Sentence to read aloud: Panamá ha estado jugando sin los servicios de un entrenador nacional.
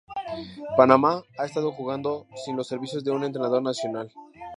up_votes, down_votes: 0, 2